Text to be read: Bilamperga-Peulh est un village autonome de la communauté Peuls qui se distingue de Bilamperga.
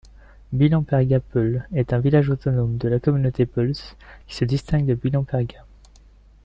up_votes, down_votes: 1, 2